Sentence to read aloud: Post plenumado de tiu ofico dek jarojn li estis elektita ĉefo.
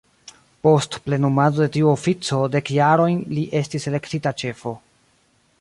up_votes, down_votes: 0, 2